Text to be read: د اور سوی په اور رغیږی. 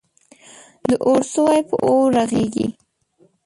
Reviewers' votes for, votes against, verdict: 0, 2, rejected